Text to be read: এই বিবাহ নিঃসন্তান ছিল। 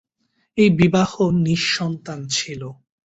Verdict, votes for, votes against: accepted, 2, 0